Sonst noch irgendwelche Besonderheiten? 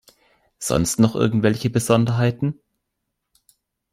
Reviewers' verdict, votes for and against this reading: accepted, 2, 0